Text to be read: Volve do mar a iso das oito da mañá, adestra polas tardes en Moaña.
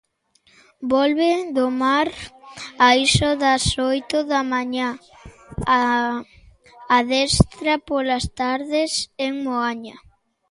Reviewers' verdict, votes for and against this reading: rejected, 1, 2